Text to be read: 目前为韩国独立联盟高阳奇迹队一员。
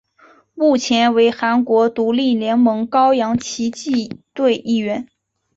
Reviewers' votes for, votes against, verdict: 2, 0, accepted